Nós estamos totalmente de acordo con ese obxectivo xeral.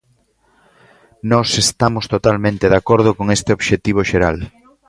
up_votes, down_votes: 0, 2